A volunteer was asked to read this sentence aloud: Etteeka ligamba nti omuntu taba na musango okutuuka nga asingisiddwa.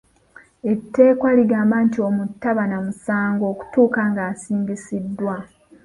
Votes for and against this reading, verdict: 2, 0, accepted